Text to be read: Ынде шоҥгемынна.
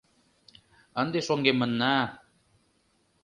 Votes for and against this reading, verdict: 2, 0, accepted